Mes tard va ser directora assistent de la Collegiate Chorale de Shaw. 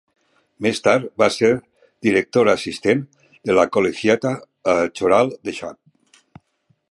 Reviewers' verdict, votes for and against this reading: rejected, 0, 2